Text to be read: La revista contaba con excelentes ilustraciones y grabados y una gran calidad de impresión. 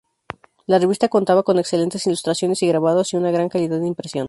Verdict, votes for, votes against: accepted, 2, 0